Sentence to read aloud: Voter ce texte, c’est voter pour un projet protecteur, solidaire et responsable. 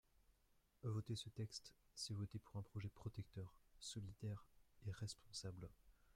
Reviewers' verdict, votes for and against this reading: accepted, 2, 0